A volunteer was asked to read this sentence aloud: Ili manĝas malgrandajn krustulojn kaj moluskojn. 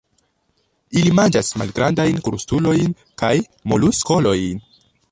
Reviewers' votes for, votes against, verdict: 1, 4, rejected